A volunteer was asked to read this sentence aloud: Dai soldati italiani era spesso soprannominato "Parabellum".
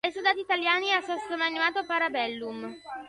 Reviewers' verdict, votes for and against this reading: rejected, 0, 2